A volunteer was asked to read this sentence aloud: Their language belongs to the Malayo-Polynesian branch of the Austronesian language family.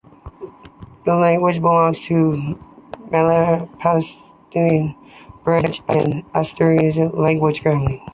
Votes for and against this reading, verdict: 0, 2, rejected